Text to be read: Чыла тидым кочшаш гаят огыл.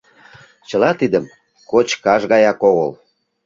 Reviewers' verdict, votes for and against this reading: rejected, 0, 2